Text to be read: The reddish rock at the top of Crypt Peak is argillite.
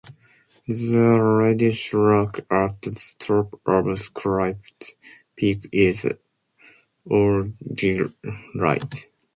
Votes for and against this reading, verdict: 2, 0, accepted